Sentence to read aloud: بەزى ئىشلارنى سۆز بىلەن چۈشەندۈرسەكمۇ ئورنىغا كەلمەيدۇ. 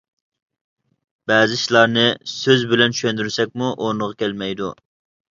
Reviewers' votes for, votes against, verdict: 2, 0, accepted